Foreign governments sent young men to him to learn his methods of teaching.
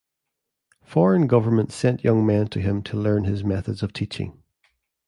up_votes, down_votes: 2, 0